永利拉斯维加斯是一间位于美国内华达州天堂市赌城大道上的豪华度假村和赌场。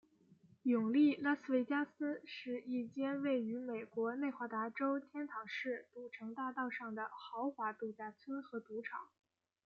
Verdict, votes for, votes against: accepted, 2, 0